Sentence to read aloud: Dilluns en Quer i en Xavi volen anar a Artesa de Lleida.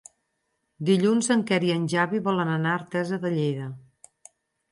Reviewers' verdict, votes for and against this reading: accepted, 4, 0